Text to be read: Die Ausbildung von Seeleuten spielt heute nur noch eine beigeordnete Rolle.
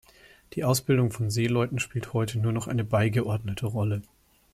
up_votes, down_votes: 2, 0